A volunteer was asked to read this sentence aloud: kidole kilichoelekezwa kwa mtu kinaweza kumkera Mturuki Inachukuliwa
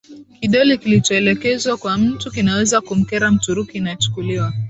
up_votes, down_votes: 10, 0